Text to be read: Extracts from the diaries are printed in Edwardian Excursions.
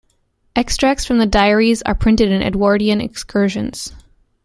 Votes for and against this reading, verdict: 3, 0, accepted